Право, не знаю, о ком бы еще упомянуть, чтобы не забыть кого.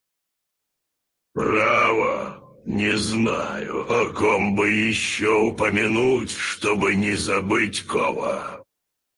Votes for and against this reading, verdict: 2, 2, rejected